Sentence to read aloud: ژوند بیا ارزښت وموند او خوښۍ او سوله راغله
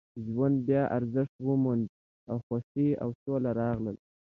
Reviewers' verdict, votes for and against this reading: accepted, 3, 0